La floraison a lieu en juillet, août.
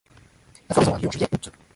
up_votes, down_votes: 1, 2